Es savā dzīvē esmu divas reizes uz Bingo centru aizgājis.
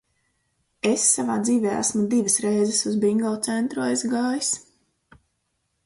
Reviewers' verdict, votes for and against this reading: accepted, 4, 0